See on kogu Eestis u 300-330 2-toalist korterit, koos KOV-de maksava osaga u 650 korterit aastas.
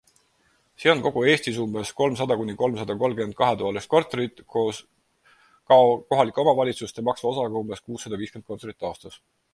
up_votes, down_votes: 0, 2